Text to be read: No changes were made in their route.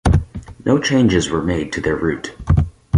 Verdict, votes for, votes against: rejected, 0, 4